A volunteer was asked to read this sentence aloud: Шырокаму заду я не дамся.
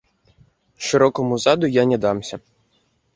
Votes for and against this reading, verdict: 1, 2, rejected